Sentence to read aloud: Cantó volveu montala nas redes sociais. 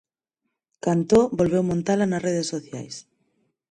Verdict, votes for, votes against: accepted, 4, 2